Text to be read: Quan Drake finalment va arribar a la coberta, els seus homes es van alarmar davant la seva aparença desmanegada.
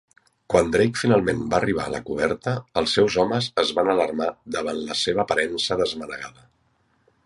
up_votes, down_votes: 2, 0